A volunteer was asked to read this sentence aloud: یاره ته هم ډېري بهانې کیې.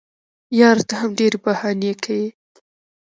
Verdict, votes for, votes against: rejected, 0, 2